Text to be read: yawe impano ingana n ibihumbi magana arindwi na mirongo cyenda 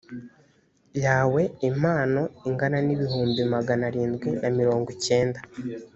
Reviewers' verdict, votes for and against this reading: accepted, 2, 0